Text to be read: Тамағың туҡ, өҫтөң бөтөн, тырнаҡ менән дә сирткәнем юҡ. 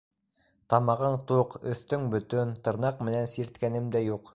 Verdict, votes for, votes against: rejected, 1, 2